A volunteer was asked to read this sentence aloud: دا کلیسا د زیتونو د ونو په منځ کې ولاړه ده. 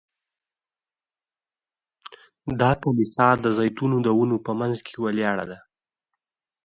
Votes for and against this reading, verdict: 1, 2, rejected